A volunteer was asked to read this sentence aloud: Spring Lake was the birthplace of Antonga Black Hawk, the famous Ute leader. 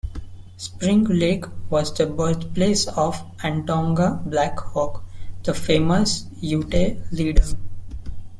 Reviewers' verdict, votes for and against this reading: rejected, 1, 2